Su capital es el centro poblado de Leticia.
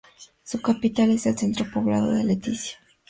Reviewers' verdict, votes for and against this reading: accepted, 4, 0